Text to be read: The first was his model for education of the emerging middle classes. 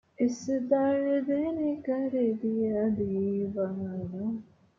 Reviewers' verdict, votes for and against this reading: rejected, 0, 2